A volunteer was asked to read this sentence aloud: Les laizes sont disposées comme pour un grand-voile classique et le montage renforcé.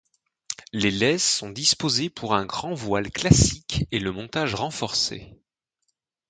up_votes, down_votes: 0, 2